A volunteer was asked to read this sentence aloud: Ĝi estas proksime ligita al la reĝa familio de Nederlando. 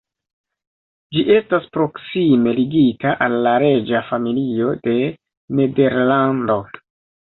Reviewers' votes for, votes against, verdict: 2, 0, accepted